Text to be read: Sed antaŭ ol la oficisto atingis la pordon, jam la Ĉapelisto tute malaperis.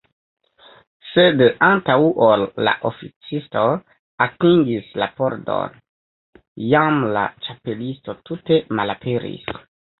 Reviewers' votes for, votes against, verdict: 0, 2, rejected